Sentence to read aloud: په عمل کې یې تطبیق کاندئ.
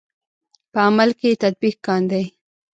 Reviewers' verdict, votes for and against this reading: rejected, 1, 2